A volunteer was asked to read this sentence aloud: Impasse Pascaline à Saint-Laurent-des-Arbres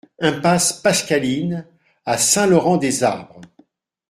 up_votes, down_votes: 2, 0